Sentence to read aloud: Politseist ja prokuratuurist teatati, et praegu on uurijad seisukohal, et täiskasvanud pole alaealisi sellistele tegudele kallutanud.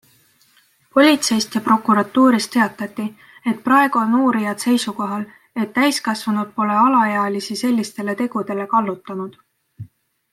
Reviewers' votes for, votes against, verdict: 2, 0, accepted